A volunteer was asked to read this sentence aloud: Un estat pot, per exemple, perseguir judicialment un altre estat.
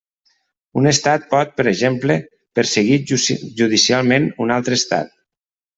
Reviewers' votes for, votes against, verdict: 0, 2, rejected